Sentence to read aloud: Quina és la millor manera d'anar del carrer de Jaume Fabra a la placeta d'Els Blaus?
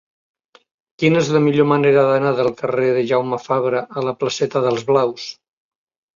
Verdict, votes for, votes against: accepted, 2, 0